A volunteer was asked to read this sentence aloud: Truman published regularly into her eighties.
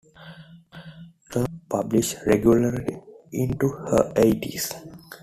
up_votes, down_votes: 0, 2